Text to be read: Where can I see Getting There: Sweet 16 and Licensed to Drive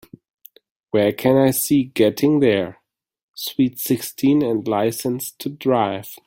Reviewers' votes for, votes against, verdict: 0, 2, rejected